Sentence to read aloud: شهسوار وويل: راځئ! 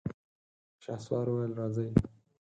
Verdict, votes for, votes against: accepted, 4, 0